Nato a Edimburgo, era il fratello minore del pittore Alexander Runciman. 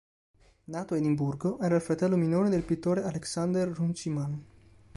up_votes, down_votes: 2, 0